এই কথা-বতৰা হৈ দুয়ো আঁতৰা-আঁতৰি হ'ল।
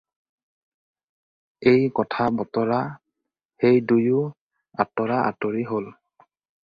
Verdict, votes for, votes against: rejected, 0, 4